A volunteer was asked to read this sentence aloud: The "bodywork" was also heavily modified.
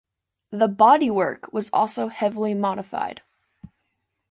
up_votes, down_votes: 2, 0